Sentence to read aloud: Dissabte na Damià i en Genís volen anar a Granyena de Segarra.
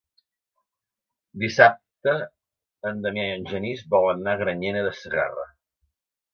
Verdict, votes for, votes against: rejected, 1, 2